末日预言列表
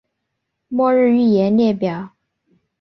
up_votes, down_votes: 4, 0